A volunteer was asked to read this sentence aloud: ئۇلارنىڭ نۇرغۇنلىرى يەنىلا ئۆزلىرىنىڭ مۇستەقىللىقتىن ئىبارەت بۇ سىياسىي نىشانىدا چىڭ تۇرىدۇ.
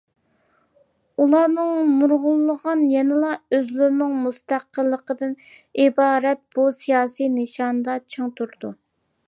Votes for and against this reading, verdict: 0, 2, rejected